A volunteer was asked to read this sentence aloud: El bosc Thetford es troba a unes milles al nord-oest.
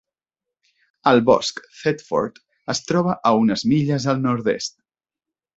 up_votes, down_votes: 0, 2